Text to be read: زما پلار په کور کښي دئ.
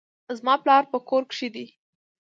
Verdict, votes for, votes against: accepted, 2, 0